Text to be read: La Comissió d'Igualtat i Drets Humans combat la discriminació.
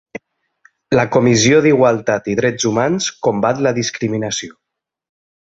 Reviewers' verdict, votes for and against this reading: rejected, 1, 2